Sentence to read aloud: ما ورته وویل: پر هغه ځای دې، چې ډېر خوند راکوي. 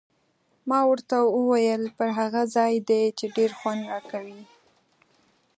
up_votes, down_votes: 2, 0